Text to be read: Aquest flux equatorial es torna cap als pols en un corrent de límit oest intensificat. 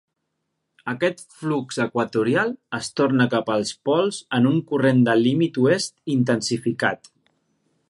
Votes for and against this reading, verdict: 3, 0, accepted